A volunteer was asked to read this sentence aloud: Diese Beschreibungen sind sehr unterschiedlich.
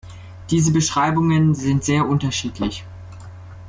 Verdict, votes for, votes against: accepted, 2, 0